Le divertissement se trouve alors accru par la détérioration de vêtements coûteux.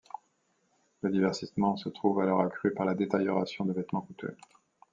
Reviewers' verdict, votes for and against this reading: accepted, 2, 0